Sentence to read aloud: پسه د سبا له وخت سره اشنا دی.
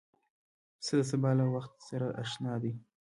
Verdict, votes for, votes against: rejected, 1, 2